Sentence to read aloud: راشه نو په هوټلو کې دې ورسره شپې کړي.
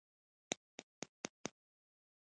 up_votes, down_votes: 1, 2